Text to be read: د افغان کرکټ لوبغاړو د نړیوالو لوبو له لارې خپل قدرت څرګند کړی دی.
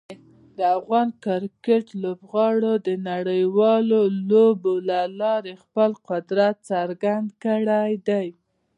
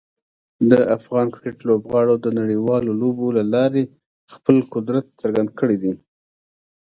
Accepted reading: second